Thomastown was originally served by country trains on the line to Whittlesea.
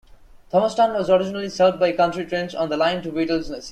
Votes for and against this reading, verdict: 1, 2, rejected